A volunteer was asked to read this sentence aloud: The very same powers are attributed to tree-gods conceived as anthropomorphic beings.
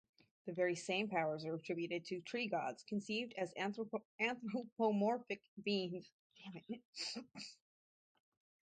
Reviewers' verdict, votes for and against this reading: rejected, 0, 4